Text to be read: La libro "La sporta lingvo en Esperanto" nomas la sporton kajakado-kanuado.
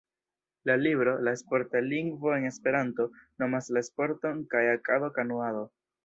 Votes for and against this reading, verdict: 0, 2, rejected